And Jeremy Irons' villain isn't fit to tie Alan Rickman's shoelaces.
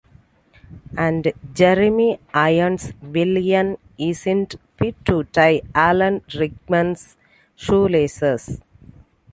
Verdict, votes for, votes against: accepted, 2, 1